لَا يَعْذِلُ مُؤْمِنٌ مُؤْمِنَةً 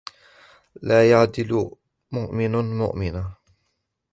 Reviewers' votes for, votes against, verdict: 1, 2, rejected